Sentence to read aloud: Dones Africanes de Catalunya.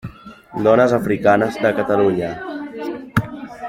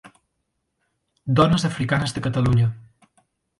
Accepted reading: second